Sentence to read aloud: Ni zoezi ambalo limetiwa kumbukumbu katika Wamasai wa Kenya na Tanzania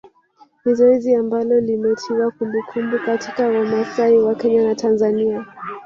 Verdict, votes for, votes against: rejected, 1, 2